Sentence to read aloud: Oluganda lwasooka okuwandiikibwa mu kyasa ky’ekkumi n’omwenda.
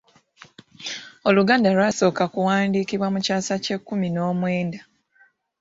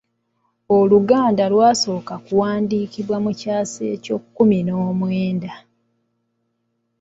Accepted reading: first